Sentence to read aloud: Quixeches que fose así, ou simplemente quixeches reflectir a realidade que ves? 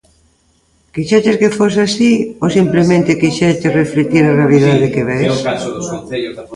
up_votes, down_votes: 0, 2